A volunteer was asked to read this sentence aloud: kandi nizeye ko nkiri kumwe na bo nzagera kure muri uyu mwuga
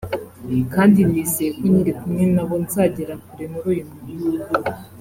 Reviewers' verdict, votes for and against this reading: accepted, 2, 0